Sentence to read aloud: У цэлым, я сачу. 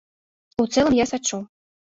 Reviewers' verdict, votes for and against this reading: accepted, 2, 0